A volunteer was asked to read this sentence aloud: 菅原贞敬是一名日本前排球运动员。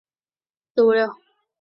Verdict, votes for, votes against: rejected, 1, 4